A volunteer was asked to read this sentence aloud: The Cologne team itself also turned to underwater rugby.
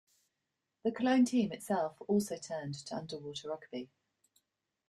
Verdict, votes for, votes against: accepted, 3, 1